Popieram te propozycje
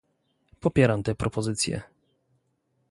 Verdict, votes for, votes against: accepted, 2, 0